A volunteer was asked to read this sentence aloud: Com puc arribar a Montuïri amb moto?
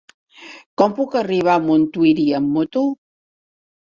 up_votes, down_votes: 4, 0